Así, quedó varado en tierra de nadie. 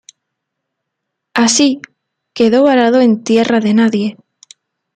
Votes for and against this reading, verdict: 2, 0, accepted